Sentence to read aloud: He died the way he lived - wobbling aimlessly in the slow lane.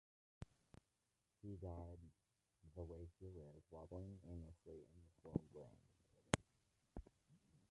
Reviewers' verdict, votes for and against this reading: rejected, 0, 2